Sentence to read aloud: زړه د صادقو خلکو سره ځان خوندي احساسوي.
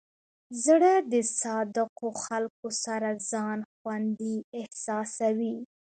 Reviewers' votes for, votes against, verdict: 2, 1, accepted